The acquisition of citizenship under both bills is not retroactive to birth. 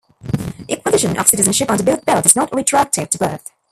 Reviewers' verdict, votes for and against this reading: rejected, 0, 2